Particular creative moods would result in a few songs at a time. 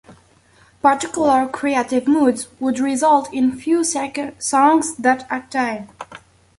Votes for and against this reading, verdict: 1, 2, rejected